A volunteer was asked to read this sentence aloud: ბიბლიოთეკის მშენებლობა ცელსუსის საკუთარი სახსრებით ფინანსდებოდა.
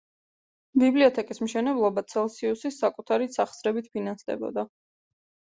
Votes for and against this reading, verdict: 0, 2, rejected